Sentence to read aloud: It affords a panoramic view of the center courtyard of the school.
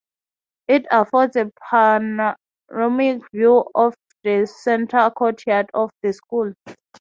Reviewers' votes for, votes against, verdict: 0, 6, rejected